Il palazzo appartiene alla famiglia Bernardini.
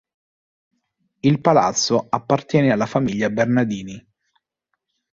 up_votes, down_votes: 3, 0